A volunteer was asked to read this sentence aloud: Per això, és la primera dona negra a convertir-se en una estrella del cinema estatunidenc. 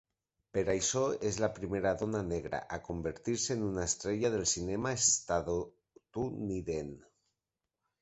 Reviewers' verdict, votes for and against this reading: rejected, 0, 2